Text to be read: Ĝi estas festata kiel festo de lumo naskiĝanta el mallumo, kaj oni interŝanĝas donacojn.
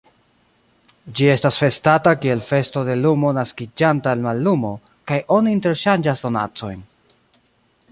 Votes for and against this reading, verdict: 1, 2, rejected